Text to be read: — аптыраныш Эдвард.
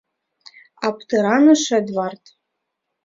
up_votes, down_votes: 2, 1